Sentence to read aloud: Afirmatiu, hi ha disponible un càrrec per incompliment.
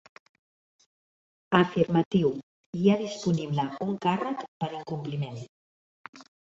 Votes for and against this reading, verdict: 1, 2, rejected